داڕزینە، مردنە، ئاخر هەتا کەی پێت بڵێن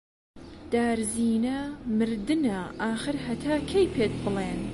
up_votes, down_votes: 0, 2